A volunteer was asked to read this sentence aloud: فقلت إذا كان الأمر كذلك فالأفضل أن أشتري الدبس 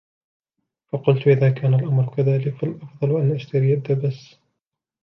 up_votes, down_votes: 1, 2